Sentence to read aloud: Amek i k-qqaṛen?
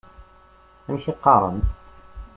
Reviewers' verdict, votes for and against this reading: rejected, 0, 2